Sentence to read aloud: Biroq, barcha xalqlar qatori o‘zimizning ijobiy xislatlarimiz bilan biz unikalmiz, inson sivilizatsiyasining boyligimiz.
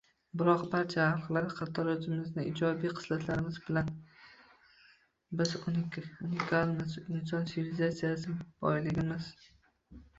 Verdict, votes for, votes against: rejected, 0, 2